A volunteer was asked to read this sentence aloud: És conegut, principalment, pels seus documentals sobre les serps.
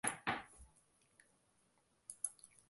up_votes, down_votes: 0, 2